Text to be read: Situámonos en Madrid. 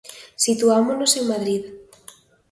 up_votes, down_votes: 2, 0